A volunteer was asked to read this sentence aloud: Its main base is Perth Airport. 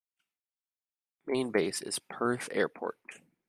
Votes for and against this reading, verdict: 1, 2, rejected